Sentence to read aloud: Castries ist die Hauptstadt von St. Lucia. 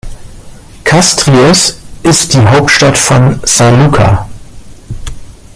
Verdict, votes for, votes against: accepted, 3, 2